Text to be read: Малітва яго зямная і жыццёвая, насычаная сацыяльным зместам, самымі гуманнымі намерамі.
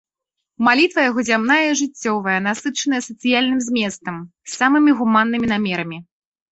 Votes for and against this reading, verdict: 2, 0, accepted